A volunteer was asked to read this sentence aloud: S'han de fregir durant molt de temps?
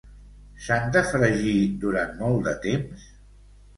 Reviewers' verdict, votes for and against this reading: accepted, 2, 0